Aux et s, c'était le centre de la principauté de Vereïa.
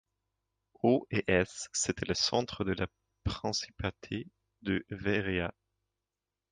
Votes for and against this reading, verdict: 1, 2, rejected